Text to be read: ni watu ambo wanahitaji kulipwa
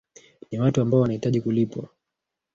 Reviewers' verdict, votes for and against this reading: rejected, 0, 2